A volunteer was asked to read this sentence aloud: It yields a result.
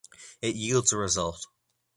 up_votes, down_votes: 2, 0